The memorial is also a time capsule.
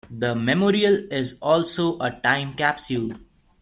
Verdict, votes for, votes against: accepted, 3, 0